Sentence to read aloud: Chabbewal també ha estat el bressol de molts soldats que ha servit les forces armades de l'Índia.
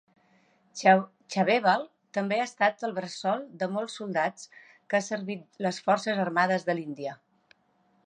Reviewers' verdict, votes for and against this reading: rejected, 1, 2